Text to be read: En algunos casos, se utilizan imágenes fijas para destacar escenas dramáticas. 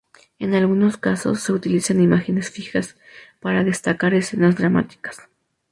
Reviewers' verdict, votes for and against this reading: accepted, 2, 0